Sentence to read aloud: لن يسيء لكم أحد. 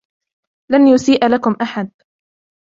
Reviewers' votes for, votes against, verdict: 2, 0, accepted